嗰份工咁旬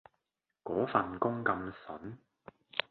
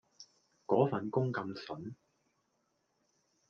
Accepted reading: second